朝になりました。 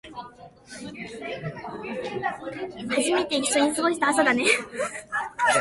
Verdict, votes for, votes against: rejected, 0, 2